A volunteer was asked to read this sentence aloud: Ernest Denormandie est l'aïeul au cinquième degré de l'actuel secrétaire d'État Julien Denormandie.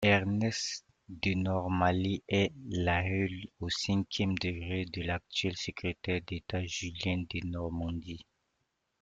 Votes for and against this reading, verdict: 1, 2, rejected